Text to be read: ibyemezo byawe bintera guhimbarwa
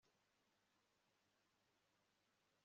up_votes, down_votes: 1, 2